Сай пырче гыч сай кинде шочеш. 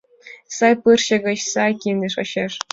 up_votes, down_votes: 3, 0